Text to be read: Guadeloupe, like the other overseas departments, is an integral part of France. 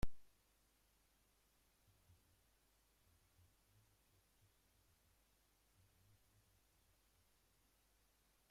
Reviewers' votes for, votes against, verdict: 0, 2, rejected